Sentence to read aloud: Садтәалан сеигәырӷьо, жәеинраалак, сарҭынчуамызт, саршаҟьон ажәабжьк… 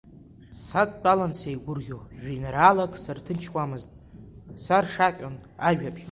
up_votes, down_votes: 1, 2